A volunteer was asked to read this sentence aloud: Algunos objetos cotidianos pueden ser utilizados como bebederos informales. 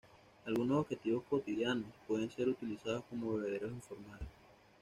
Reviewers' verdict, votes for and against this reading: rejected, 1, 2